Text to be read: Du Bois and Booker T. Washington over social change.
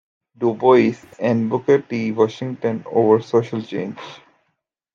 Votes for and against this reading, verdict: 0, 2, rejected